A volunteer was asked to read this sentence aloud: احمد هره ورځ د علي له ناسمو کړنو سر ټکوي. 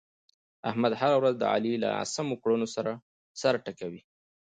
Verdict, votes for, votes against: accepted, 2, 0